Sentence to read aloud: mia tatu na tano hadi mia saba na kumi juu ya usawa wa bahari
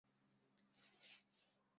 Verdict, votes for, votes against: rejected, 0, 2